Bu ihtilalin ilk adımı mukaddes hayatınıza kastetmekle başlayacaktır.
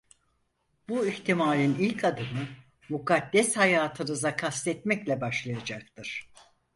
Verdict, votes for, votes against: rejected, 0, 4